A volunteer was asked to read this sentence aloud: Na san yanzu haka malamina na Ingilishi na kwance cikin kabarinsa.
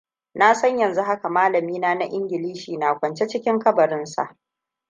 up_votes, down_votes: 1, 2